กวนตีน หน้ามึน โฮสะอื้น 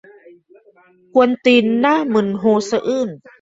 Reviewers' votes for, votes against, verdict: 1, 2, rejected